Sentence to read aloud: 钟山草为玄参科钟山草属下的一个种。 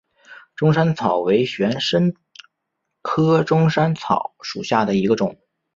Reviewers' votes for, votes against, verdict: 2, 1, accepted